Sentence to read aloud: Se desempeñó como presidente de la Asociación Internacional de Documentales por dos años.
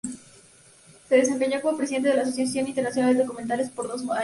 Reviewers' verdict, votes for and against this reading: accepted, 2, 0